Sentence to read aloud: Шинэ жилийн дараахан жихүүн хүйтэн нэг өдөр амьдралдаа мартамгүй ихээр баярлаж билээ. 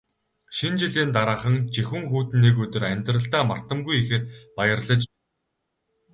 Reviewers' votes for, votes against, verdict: 0, 2, rejected